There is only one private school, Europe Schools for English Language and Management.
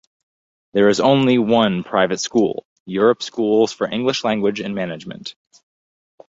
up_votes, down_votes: 2, 0